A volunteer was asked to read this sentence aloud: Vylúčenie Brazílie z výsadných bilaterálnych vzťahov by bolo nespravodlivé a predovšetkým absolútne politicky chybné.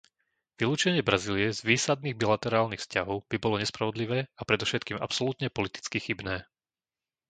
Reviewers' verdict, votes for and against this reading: accepted, 2, 0